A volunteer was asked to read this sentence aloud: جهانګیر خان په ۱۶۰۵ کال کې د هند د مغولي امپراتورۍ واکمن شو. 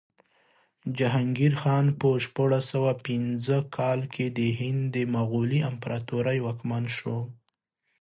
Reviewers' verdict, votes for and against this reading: rejected, 0, 2